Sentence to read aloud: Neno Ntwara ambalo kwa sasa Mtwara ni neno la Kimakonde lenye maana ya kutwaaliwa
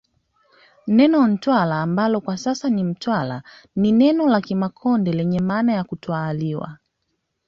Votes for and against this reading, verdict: 2, 0, accepted